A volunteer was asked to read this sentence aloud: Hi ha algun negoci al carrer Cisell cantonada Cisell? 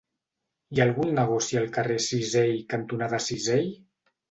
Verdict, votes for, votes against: rejected, 0, 2